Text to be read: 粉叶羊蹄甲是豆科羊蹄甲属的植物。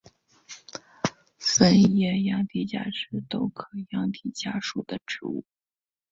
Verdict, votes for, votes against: accepted, 3, 1